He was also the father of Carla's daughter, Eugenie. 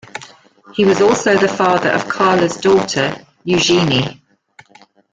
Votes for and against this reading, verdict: 1, 2, rejected